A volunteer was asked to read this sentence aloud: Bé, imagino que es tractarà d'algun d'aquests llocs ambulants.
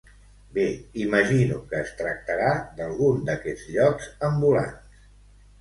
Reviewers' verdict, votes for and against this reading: accepted, 2, 1